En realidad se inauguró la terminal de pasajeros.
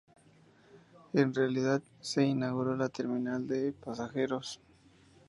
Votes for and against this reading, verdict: 0, 2, rejected